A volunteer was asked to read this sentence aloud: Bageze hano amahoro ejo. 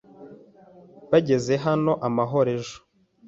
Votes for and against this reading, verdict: 2, 0, accepted